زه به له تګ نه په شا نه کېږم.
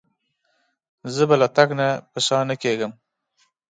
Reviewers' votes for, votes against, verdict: 4, 0, accepted